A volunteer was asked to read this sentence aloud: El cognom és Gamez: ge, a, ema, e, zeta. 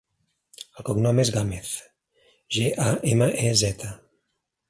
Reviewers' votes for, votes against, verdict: 3, 1, accepted